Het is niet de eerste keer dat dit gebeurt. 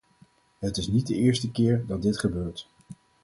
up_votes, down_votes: 4, 2